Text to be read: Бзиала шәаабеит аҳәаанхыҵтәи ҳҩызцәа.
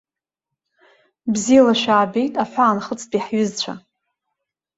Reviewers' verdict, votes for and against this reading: accepted, 2, 0